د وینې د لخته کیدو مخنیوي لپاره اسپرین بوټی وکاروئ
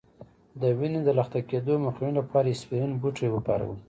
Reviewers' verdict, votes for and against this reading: accepted, 2, 1